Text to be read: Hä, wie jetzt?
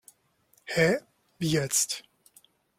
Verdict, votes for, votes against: accepted, 2, 0